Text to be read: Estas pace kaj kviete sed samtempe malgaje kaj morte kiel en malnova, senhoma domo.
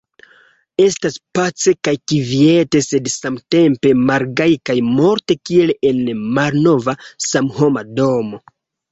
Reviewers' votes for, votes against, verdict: 1, 2, rejected